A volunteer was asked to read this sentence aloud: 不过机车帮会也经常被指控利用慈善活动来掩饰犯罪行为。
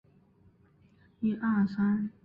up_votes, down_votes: 0, 3